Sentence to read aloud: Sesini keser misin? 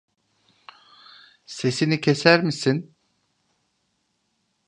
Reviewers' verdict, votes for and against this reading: accepted, 2, 0